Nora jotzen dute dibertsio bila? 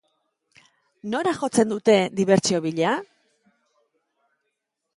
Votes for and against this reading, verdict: 2, 0, accepted